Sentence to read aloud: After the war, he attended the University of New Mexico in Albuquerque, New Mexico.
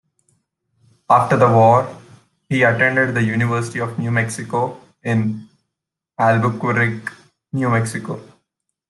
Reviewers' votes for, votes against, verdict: 0, 2, rejected